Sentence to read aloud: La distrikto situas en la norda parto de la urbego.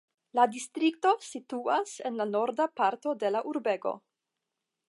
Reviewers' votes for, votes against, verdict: 5, 0, accepted